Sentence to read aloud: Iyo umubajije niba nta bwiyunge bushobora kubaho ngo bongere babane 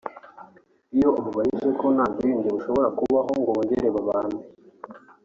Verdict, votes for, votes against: accepted, 3, 0